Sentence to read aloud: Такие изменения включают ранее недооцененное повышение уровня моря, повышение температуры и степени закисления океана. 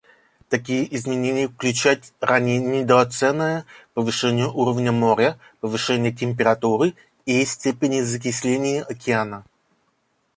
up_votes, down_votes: 1, 2